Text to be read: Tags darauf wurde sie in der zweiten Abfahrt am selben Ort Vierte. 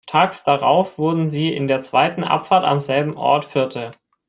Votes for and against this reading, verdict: 0, 2, rejected